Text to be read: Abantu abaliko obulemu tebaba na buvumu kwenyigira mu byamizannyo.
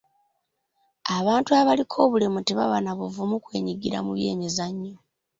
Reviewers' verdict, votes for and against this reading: rejected, 1, 2